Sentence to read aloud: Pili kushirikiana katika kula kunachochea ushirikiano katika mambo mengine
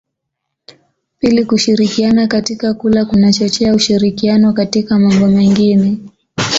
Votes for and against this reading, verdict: 2, 1, accepted